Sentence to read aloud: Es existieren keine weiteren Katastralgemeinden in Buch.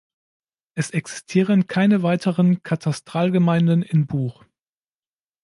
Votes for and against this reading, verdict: 2, 0, accepted